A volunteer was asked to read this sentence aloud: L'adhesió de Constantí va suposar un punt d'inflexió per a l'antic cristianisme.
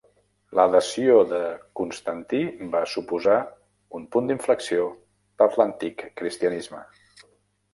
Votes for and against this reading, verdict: 1, 2, rejected